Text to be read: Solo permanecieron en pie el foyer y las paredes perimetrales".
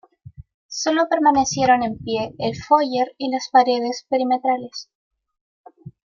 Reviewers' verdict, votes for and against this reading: accepted, 2, 0